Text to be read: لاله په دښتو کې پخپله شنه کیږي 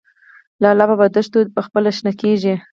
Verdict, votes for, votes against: rejected, 0, 4